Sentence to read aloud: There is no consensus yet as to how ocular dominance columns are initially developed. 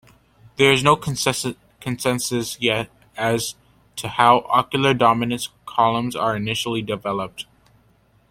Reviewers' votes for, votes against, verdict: 1, 2, rejected